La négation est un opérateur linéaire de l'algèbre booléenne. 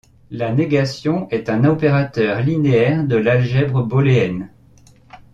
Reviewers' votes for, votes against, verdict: 0, 2, rejected